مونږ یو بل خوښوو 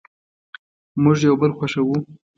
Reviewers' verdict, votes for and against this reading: accepted, 2, 0